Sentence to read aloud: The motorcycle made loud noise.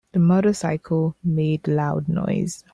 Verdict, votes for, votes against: accepted, 3, 0